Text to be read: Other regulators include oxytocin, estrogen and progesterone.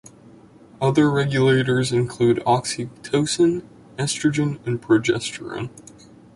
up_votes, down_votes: 2, 0